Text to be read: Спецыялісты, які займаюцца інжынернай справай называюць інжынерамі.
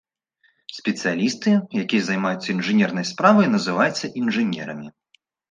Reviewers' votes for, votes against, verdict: 2, 1, accepted